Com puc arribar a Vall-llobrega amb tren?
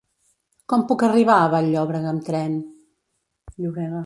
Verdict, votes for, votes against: rejected, 0, 2